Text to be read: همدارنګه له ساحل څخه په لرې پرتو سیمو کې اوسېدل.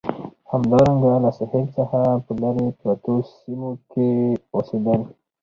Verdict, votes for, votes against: rejected, 2, 2